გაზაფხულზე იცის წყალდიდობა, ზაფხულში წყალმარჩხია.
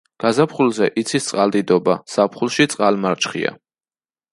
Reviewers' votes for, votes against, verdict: 2, 0, accepted